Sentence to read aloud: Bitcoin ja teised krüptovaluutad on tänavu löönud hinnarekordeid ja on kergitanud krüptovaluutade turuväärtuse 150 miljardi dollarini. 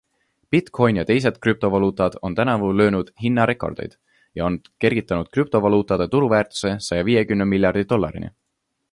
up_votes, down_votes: 0, 2